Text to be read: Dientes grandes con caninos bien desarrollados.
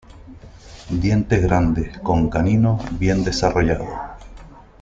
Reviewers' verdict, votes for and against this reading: rejected, 1, 2